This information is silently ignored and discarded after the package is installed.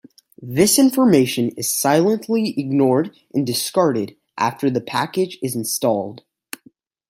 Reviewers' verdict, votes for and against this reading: accepted, 2, 0